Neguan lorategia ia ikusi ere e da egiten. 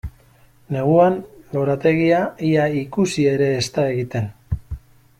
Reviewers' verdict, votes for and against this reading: rejected, 0, 2